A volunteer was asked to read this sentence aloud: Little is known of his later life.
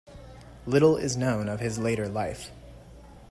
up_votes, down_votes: 2, 0